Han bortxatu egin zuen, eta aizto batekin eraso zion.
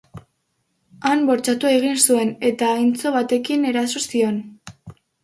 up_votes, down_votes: 0, 2